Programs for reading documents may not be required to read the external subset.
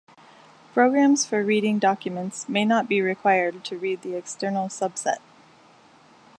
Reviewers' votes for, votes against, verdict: 2, 0, accepted